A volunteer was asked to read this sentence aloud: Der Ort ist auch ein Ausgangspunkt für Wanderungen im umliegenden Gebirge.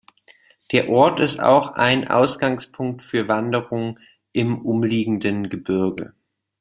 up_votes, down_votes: 2, 0